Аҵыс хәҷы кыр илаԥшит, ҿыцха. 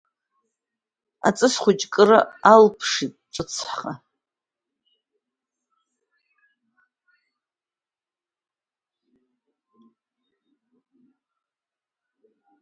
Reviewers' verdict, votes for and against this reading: rejected, 1, 2